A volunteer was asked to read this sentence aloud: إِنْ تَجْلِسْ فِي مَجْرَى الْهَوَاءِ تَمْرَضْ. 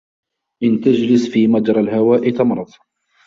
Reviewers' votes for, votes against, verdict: 2, 0, accepted